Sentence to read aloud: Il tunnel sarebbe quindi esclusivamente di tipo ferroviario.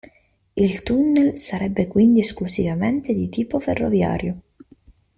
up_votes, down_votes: 0, 2